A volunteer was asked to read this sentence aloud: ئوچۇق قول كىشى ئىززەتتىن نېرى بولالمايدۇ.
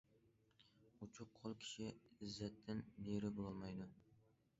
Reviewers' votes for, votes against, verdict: 2, 0, accepted